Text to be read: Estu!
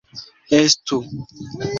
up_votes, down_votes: 2, 1